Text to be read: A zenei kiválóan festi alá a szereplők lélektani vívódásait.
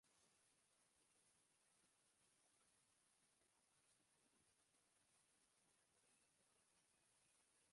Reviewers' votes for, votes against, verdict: 0, 2, rejected